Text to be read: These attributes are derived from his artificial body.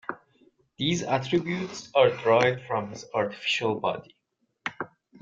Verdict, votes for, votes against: rejected, 0, 2